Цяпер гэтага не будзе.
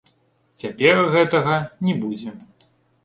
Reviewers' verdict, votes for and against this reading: accepted, 2, 1